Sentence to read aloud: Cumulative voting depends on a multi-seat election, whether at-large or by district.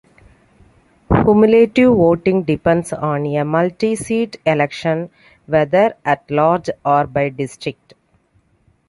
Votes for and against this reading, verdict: 2, 0, accepted